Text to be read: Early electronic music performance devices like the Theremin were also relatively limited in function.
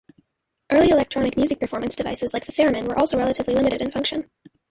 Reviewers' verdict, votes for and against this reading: rejected, 0, 2